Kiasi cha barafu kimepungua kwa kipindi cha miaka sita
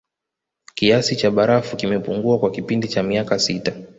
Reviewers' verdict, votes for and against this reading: rejected, 0, 2